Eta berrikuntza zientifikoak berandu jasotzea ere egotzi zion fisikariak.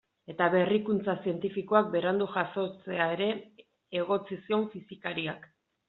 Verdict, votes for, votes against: rejected, 0, 2